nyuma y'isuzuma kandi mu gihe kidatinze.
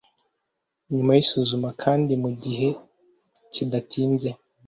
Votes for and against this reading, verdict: 2, 0, accepted